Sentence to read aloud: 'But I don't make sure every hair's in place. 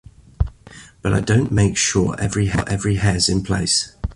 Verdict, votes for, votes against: rejected, 0, 2